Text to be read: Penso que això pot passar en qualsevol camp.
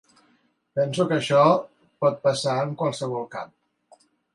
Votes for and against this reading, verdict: 3, 0, accepted